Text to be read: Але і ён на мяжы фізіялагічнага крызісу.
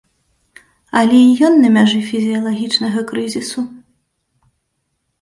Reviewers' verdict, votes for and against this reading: accepted, 2, 0